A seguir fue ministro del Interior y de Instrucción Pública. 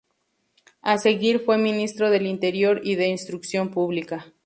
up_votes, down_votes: 2, 0